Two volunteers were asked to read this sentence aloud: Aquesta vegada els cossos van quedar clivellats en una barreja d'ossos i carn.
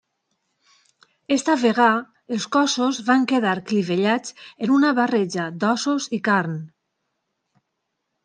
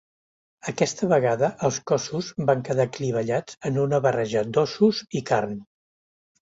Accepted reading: second